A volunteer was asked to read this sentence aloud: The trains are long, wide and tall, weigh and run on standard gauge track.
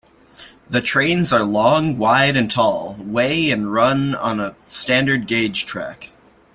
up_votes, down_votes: 0, 2